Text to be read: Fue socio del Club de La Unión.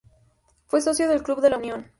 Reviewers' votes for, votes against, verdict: 2, 0, accepted